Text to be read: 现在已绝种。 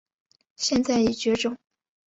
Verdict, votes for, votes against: accepted, 2, 0